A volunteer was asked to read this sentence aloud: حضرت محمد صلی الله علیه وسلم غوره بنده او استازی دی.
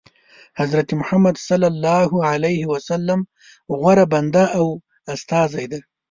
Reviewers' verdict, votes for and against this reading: accepted, 2, 0